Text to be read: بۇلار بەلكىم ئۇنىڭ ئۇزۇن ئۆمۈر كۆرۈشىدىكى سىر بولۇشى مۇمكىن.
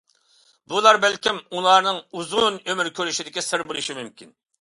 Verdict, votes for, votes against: rejected, 0, 2